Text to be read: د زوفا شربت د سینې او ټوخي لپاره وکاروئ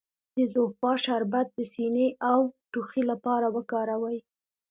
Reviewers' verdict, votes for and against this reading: accepted, 2, 0